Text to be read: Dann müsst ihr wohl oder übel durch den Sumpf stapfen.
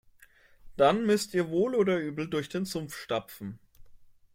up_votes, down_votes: 2, 0